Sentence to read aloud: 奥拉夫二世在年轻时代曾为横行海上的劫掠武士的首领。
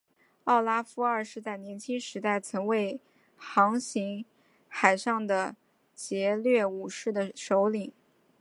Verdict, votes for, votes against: rejected, 1, 2